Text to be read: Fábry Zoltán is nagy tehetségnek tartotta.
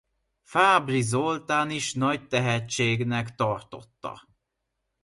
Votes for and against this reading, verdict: 2, 0, accepted